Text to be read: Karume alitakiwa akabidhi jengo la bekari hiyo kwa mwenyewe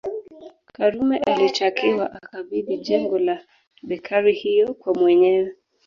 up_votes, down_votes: 0, 2